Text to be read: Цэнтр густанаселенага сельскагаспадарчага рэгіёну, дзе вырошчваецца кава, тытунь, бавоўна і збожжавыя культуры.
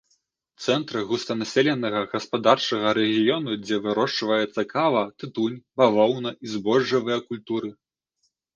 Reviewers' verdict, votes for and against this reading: rejected, 0, 2